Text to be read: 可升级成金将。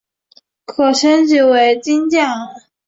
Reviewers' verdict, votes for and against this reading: accepted, 3, 0